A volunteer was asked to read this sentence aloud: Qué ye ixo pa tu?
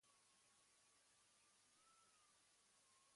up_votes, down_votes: 1, 2